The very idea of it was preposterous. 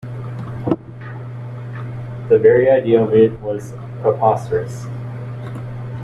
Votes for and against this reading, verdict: 2, 0, accepted